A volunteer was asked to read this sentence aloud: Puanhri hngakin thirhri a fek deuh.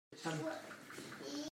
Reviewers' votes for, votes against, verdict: 0, 2, rejected